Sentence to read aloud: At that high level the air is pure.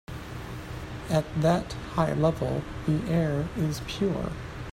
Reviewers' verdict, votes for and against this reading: accepted, 2, 0